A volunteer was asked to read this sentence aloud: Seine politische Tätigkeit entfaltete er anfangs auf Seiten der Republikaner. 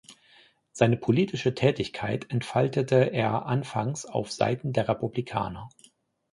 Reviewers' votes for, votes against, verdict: 2, 0, accepted